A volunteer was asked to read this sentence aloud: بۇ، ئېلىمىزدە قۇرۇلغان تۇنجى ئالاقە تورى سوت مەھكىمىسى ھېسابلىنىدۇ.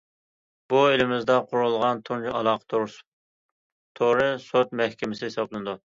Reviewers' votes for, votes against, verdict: 0, 2, rejected